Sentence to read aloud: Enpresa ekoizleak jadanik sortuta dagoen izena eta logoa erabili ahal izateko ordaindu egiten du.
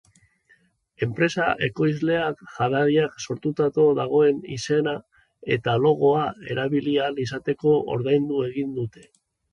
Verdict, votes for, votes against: rejected, 0, 2